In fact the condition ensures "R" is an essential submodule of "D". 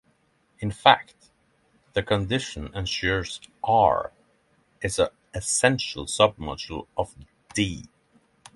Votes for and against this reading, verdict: 0, 6, rejected